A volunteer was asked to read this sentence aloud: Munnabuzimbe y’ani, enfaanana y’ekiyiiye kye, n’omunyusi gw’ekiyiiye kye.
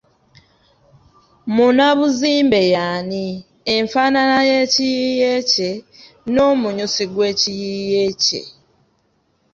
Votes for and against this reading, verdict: 2, 0, accepted